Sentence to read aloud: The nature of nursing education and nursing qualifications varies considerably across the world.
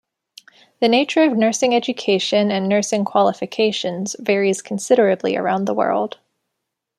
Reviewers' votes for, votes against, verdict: 0, 2, rejected